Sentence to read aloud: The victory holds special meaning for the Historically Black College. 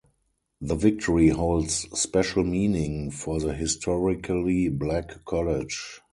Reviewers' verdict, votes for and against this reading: rejected, 2, 2